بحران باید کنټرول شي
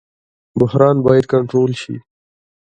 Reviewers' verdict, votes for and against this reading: rejected, 1, 2